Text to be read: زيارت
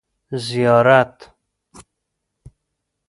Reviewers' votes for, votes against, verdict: 2, 0, accepted